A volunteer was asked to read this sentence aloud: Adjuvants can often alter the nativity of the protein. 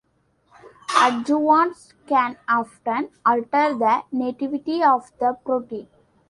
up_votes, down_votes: 2, 0